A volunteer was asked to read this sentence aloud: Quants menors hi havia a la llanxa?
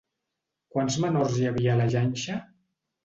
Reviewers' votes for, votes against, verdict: 2, 0, accepted